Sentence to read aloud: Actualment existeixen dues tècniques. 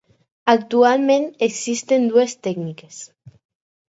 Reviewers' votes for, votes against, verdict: 2, 4, rejected